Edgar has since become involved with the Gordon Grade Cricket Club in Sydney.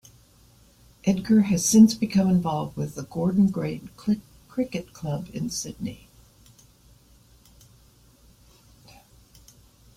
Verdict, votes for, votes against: rejected, 0, 2